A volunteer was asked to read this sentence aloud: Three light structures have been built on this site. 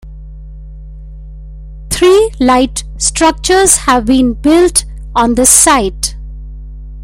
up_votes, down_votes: 2, 0